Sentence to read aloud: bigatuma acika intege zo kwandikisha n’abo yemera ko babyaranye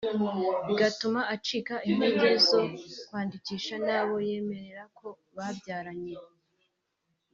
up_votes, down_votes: 1, 2